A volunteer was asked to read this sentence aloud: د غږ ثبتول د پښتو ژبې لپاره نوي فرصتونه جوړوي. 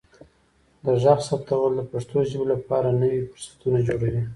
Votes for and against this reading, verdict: 2, 0, accepted